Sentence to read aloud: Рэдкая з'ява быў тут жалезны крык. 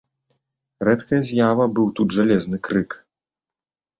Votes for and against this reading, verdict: 2, 0, accepted